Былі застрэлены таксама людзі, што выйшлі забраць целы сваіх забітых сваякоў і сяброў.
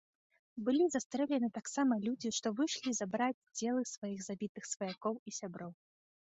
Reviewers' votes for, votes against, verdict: 2, 1, accepted